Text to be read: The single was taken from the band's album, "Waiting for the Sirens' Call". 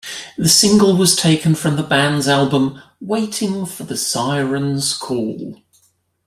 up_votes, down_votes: 2, 0